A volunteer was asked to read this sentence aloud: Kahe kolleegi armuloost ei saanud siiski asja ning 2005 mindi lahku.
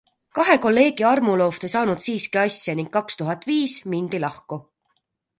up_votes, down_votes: 0, 2